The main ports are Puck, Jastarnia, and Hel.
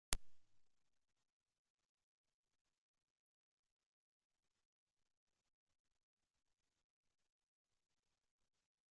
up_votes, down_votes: 0, 2